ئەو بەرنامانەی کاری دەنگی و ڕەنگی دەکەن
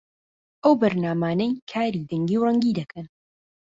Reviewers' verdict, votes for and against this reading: accepted, 2, 0